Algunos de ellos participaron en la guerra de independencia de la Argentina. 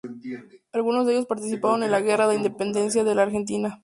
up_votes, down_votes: 0, 2